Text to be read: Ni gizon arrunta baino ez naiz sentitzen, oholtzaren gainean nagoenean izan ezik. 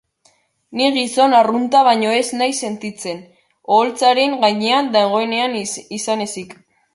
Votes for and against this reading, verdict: 0, 2, rejected